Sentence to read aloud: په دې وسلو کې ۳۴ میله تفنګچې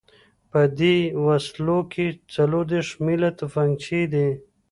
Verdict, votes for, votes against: rejected, 0, 2